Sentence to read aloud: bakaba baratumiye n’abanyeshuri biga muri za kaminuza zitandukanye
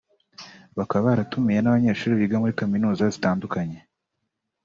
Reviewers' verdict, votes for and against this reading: accepted, 2, 0